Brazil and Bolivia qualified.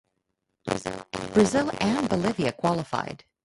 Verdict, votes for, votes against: rejected, 0, 2